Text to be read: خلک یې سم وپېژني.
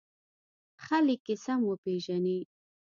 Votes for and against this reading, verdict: 1, 2, rejected